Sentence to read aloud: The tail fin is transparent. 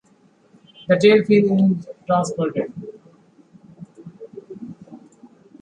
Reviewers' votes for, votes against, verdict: 0, 2, rejected